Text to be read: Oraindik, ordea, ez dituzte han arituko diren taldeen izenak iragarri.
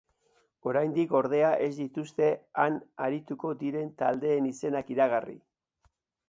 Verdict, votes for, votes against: accepted, 3, 0